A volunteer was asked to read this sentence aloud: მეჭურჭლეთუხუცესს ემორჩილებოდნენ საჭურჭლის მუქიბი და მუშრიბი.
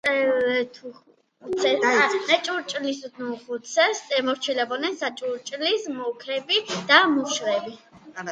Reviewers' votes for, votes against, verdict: 0, 2, rejected